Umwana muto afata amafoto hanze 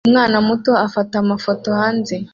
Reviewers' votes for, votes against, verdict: 2, 1, accepted